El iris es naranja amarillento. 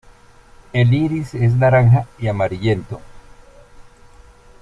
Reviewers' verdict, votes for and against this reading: rejected, 0, 2